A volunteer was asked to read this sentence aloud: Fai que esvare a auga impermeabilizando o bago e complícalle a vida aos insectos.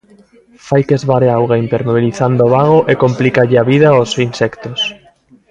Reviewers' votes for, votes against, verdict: 2, 0, accepted